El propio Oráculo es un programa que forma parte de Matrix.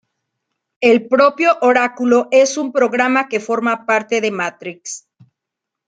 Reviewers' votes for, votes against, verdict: 2, 0, accepted